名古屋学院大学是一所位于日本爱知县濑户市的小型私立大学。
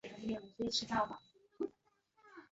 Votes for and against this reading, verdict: 0, 2, rejected